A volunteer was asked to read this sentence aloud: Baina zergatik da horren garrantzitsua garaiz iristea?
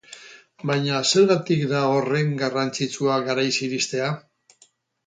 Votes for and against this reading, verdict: 2, 2, rejected